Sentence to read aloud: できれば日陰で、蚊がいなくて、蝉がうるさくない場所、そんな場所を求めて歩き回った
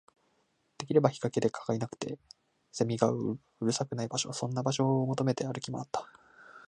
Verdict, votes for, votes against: accepted, 4, 1